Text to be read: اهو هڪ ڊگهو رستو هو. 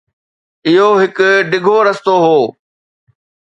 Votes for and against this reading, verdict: 2, 0, accepted